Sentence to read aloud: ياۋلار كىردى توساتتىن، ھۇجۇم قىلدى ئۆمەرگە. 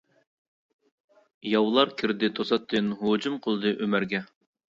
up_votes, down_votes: 2, 0